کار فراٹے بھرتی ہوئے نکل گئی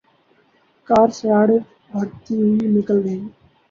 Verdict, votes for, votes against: rejected, 0, 2